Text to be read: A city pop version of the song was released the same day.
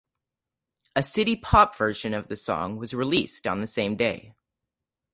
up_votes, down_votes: 2, 2